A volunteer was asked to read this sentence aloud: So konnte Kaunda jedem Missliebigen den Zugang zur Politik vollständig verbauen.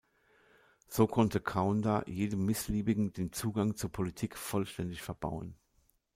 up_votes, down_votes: 2, 0